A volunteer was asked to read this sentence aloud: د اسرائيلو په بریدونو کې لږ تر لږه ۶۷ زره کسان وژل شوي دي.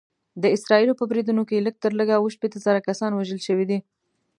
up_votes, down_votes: 0, 2